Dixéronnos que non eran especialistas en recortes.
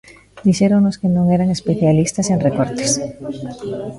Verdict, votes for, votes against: rejected, 1, 2